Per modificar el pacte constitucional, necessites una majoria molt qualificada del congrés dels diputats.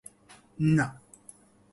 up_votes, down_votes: 1, 3